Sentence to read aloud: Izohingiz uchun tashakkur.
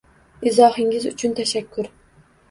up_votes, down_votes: 2, 0